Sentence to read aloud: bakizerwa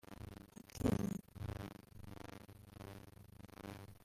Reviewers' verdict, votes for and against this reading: rejected, 0, 2